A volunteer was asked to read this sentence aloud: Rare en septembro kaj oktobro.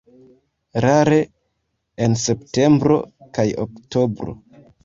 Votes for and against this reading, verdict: 2, 0, accepted